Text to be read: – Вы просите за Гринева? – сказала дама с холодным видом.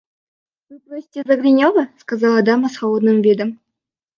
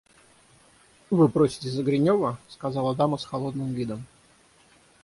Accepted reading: second